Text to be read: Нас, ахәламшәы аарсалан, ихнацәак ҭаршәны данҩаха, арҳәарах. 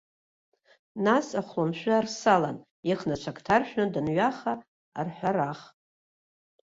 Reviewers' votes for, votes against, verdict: 1, 2, rejected